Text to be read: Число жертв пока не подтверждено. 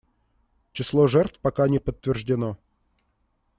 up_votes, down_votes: 2, 0